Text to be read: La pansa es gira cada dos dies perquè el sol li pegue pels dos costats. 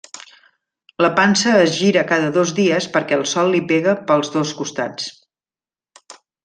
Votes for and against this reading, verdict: 2, 1, accepted